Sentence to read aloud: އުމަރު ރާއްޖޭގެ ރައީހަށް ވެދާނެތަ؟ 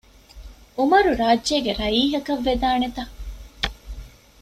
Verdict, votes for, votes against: rejected, 0, 2